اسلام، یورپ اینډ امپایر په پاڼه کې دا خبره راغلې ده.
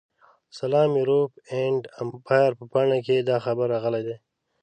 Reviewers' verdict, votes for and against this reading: rejected, 1, 2